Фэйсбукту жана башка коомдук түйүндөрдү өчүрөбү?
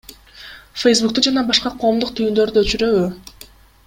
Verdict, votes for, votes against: accepted, 2, 0